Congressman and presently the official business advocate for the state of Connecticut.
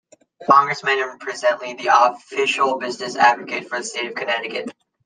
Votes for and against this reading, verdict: 0, 2, rejected